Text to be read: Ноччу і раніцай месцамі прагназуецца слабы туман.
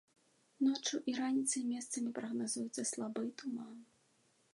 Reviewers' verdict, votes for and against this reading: accepted, 2, 0